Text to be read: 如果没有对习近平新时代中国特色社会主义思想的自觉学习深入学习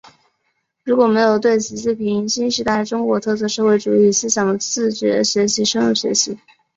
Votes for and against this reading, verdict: 2, 1, accepted